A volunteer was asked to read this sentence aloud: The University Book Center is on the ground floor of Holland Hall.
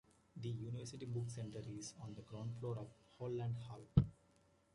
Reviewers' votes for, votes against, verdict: 2, 1, accepted